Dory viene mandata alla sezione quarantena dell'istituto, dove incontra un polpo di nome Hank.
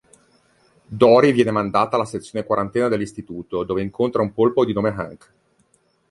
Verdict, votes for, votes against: accepted, 2, 0